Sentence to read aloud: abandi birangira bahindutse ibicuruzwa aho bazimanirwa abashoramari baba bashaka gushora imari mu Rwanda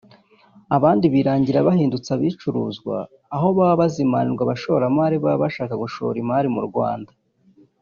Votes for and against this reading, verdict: 0, 2, rejected